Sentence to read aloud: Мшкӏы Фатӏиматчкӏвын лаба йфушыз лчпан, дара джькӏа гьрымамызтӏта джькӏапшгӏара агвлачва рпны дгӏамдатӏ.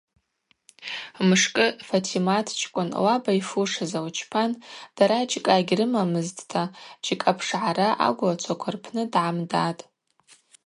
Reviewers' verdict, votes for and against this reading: accepted, 2, 0